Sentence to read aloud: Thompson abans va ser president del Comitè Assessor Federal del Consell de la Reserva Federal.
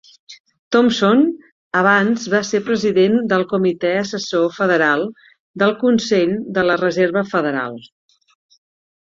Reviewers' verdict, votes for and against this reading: accepted, 2, 0